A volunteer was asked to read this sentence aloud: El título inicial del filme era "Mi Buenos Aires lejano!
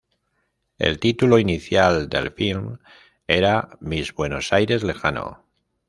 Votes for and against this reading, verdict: 0, 2, rejected